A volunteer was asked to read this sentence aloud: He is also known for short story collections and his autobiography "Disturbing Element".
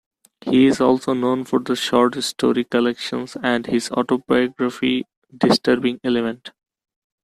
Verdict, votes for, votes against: rejected, 1, 2